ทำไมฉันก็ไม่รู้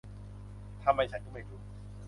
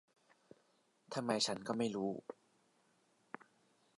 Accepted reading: second